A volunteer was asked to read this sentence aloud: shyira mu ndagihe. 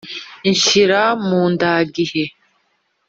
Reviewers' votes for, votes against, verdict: 1, 2, rejected